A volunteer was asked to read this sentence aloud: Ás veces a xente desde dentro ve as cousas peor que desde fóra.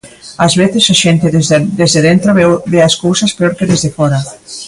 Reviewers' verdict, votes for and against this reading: rejected, 0, 2